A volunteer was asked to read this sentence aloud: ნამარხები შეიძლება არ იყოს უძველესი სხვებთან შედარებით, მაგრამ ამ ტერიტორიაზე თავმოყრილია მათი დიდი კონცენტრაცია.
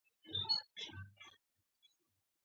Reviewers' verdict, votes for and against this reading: rejected, 0, 2